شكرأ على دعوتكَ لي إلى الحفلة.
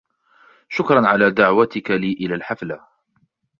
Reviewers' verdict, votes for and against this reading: accepted, 2, 0